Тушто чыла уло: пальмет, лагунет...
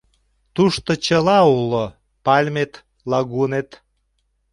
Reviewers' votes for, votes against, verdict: 2, 0, accepted